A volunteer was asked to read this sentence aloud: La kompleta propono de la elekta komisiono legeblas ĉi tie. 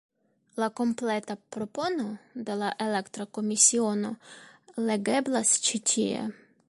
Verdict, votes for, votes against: accepted, 2, 0